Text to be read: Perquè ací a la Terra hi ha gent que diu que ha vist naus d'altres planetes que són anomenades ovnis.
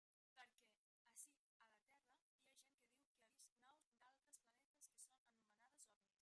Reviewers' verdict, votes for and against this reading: rejected, 0, 2